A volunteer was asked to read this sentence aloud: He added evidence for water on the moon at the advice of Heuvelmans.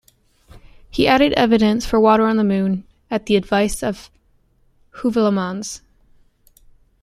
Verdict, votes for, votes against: accepted, 2, 0